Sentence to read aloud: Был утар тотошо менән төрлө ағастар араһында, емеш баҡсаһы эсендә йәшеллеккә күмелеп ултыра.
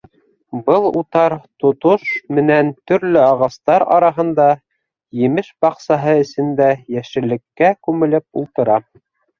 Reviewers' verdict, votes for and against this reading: rejected, 0, 2